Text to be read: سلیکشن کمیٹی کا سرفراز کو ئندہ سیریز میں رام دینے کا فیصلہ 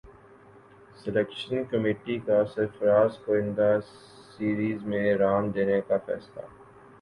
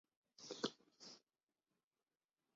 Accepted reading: first